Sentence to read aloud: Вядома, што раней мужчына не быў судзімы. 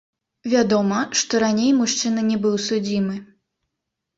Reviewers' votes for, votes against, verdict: 1, 2, rejected